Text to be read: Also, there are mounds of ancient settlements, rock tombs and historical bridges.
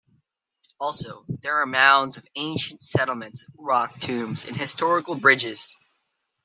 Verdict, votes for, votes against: accepted, 2, 0